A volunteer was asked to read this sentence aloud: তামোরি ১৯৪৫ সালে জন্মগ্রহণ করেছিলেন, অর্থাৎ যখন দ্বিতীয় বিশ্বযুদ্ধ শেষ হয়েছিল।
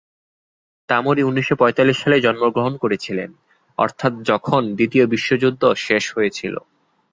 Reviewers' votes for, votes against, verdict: 0, 2, rejected